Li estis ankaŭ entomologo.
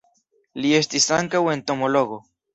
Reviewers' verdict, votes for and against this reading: accepted, 2, 0